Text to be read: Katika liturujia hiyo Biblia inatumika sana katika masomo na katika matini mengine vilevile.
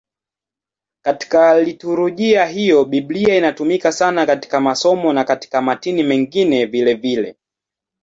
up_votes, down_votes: 2, 0